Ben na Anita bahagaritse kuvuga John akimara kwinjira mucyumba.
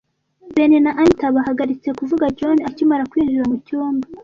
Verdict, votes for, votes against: accepted, 2, 0